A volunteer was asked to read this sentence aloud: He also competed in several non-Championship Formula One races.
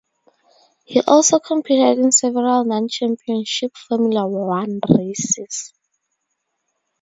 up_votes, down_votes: 2, 0